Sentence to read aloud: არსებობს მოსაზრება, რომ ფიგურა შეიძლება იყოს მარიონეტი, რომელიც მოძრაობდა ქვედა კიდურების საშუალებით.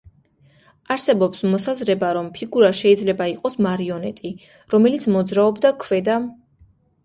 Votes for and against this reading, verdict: 0, 2, rejected